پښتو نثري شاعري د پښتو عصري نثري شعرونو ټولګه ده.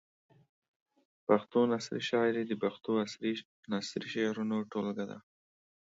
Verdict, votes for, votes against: accepted, 2, 0